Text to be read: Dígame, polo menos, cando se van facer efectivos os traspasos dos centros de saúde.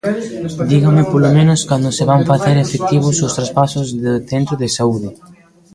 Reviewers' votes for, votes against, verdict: 0, 2, rejected